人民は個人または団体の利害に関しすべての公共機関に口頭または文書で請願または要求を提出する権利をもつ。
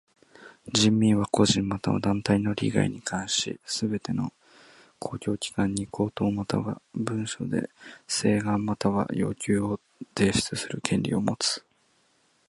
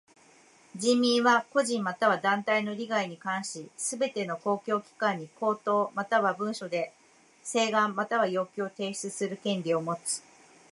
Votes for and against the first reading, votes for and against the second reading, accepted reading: 1, 2, 2, 0, second